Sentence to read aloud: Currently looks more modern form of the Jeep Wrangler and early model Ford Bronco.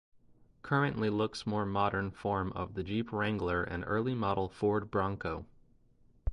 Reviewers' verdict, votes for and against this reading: rejected, 0, 2